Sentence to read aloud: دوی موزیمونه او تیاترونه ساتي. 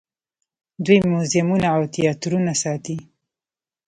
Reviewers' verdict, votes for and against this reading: rejected, 1, 2